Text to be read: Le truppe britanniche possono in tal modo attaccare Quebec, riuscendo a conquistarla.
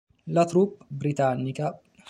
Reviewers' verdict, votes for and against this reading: rejected, 0, 3